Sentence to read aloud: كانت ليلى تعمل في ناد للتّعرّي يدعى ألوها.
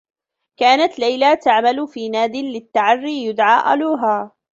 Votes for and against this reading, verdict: 0, 2, rejected